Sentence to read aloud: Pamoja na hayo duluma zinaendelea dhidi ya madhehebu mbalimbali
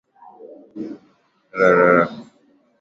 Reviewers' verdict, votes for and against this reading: rejected, 4, 13